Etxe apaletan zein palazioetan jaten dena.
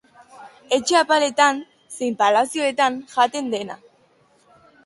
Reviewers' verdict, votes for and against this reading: accepted, 3, 0